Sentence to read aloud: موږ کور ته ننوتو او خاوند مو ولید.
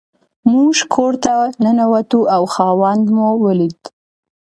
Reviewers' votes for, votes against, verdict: 2, 0, accepted